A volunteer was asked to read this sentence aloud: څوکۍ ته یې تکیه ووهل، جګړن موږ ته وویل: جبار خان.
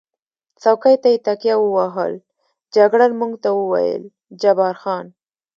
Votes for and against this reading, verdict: 1, 2, rejected